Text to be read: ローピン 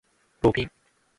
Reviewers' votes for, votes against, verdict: 0, 2, rejected